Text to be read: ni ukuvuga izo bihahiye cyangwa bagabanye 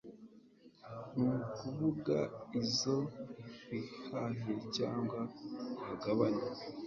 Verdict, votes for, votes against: accepted, 2, 0